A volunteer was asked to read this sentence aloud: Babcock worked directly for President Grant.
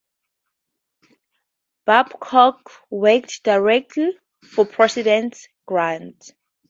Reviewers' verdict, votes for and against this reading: accepted, 2, 0